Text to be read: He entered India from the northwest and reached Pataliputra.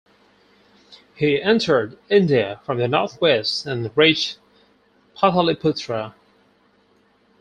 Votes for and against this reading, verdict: 4, 0, accepted